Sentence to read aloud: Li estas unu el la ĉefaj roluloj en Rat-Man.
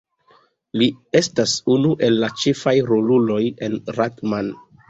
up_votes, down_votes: 2, 0